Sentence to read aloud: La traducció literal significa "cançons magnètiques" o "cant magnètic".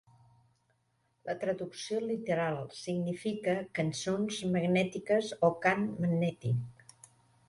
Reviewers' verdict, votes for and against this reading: accepted, 3, 0